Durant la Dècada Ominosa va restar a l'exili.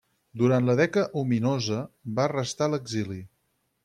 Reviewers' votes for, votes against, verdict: 2, 4, rejected